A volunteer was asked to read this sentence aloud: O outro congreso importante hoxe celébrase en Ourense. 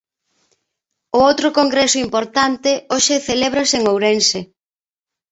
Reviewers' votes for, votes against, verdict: 2, 0, accepted